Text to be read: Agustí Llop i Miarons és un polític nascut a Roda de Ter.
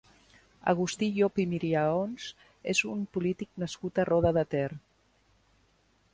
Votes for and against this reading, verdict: 1, 2, rejected